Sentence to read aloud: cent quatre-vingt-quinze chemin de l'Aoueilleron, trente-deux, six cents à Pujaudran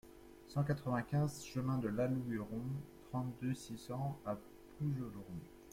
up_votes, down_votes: 0, 2